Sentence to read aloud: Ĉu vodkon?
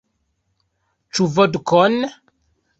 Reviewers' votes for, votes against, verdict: 1, 2, rejected